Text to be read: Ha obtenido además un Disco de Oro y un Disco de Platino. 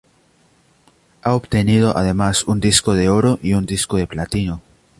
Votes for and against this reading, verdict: 2, 0, accepted